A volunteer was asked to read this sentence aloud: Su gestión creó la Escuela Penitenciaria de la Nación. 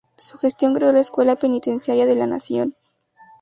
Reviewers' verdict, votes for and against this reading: rejected, 0, 2